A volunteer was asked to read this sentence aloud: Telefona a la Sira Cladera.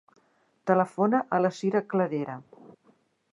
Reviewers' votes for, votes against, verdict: 2, 0, accepted